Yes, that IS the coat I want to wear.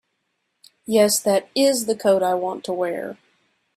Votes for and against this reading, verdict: 2, 0, accepted